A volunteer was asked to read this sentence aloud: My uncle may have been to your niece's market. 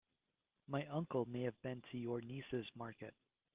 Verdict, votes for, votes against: accepted, 2, 0